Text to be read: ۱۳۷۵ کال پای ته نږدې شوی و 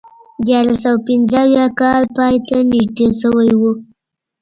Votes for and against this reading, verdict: 0, 2, rejected